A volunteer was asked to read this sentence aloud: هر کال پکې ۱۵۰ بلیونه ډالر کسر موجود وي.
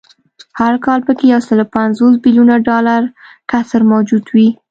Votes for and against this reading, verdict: 0, 2, rejected